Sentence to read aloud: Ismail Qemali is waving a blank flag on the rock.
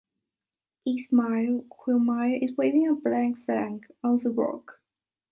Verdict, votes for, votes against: accepted, 2, 1